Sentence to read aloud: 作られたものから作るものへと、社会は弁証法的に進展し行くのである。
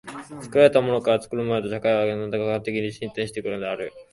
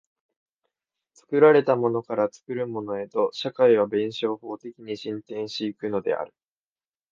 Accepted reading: second